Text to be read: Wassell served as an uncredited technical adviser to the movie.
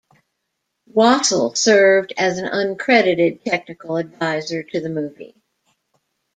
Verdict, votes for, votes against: rejected, 1, 2